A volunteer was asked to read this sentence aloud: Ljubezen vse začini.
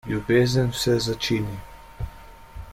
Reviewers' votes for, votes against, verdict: 2, 0, accepted